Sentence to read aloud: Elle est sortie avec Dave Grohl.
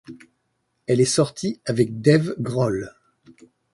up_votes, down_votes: 2, 0